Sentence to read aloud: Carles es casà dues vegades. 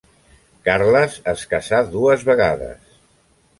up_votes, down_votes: 2, 1